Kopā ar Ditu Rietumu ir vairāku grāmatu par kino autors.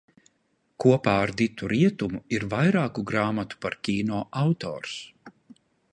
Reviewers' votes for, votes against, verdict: 0, 2, rejected